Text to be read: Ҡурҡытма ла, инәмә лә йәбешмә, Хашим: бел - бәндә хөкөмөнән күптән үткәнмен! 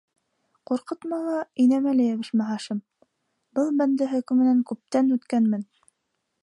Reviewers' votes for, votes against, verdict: 2, 1, accepted